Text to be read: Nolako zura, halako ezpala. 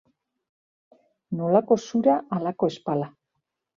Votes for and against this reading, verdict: 2, 0, accepted